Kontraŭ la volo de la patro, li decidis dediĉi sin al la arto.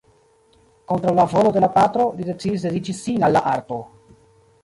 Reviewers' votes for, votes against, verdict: 1, 2, rejected